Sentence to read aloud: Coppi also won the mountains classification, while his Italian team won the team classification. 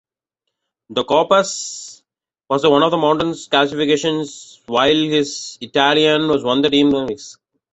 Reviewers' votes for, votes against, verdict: 0, 2, rejected